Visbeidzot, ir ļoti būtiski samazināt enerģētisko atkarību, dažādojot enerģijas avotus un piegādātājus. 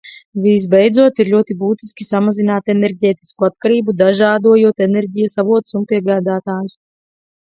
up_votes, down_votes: 4, 0